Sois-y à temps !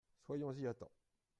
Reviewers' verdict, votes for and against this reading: rejected, 0, 2